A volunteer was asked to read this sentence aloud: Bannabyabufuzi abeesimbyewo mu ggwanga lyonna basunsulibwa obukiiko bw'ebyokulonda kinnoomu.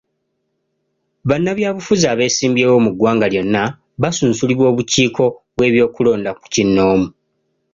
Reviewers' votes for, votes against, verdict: 2, 0, accepted